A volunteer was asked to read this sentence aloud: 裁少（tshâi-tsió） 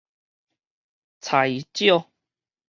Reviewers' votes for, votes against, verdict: 4, 0, accepted